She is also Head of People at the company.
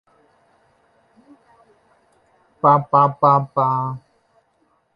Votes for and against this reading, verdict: 0, 2, rejected